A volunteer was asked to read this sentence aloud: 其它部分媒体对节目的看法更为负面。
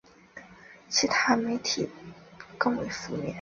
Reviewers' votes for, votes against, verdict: 0, 4, rejected